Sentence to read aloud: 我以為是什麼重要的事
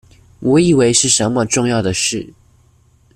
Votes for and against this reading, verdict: 2, 0, accepted